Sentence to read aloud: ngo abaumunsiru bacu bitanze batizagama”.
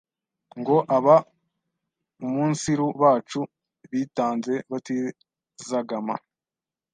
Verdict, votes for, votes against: rejected, 1, 2